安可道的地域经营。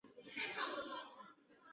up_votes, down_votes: 0, 5